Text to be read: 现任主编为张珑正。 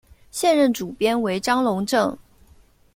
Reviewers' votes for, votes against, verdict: 2, 0, accepted